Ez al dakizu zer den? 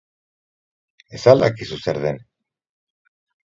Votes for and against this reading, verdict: 6, 0, accepted